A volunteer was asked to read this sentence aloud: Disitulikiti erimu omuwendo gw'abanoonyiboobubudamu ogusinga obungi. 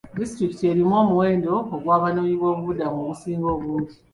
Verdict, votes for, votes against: rejected, 1, 2